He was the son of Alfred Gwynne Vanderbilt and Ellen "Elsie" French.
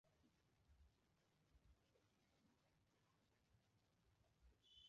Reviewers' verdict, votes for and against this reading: rejected, 0, 2